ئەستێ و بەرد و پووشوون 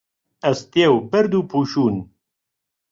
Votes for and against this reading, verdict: 2, 0, accepted